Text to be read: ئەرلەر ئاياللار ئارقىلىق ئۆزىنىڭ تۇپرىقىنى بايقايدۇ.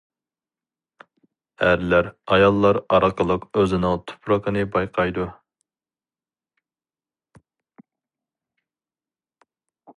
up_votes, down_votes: 2, 0